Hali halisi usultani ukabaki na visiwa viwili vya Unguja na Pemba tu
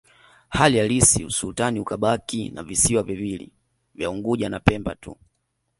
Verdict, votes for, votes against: accepted, 2, 0